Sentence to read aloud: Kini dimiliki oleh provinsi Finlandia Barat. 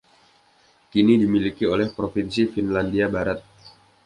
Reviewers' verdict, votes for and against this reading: accepted, 2, 0